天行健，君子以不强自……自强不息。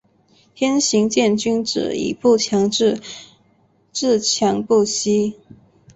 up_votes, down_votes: 4, 1